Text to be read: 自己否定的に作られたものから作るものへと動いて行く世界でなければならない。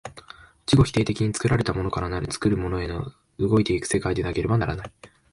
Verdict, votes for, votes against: rejected, 1, 2